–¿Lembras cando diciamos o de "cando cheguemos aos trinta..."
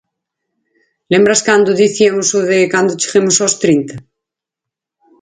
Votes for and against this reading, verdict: 2, 4, rejected